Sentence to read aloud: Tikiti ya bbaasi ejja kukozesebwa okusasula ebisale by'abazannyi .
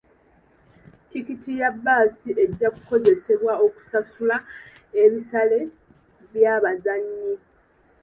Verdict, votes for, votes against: accepted, 2, 1